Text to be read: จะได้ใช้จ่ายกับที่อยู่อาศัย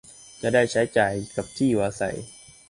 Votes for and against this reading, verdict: 2, 0, accepted